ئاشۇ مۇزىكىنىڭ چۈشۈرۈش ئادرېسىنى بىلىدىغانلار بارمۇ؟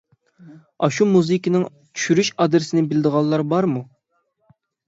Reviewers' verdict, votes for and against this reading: accepted, 6, 0